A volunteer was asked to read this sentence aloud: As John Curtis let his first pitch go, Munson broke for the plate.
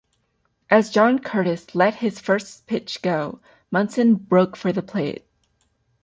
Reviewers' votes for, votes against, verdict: 2, 0, accepted